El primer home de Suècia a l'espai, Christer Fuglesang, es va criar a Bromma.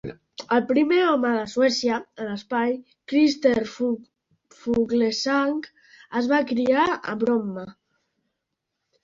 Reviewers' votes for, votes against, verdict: 1, 2, rejected